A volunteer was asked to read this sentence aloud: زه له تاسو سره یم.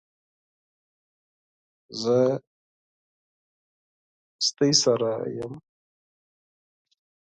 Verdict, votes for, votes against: accepted, 4, 2